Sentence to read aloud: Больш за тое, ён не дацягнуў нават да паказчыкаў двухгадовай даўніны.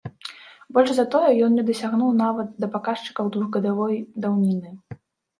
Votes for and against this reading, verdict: 0, 2, rejected